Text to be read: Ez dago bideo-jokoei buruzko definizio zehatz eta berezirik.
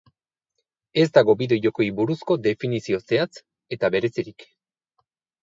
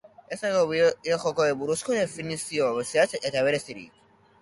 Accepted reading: first